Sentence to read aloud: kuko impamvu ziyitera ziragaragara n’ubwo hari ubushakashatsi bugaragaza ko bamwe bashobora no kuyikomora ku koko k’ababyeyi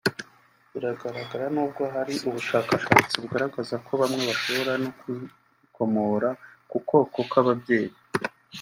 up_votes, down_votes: 1, 2